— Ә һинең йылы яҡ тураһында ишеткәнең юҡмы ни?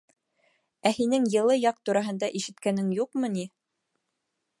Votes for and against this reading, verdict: 2, 0, accepted